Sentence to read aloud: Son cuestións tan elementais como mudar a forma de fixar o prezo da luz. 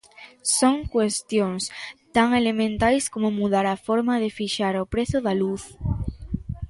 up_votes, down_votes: 2, 0